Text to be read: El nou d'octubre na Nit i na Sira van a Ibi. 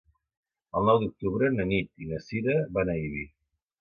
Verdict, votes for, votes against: accepted, 2, 1